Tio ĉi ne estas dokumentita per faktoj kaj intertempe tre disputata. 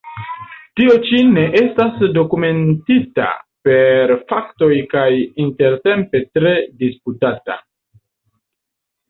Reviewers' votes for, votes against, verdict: 2, 0, accepted